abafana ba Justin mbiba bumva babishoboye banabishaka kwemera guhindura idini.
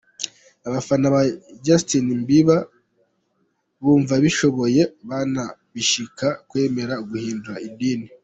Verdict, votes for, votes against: rejected, 0, 2